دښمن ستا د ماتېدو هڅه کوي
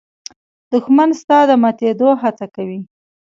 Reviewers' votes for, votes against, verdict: 2, 1, accepted